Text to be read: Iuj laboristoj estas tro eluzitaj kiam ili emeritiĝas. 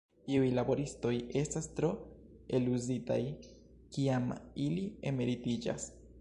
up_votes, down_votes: 0, 2